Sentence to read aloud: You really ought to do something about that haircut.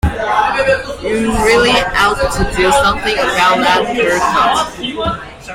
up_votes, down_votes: 1, 2